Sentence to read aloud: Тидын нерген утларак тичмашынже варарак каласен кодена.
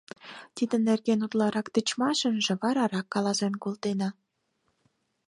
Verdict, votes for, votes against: rejected, 2, 6